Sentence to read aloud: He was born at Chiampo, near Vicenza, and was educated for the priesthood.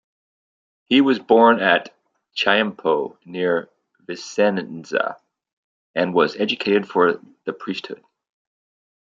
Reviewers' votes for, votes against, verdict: 0, 2, rejected